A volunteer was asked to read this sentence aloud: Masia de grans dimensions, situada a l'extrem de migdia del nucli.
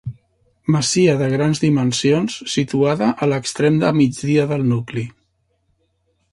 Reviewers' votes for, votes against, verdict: 1, 2, rejected